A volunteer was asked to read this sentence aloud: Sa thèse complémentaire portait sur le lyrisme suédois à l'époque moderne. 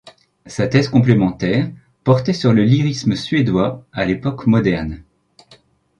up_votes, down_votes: 2, 0